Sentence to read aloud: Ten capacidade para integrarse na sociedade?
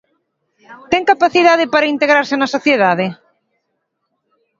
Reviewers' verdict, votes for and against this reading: accepted, 2, 0